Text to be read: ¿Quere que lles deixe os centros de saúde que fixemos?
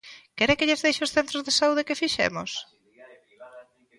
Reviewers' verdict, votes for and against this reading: accepted, 2, 0